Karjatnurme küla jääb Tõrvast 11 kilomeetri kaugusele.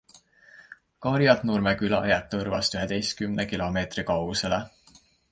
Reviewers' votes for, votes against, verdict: 0, 2, rejected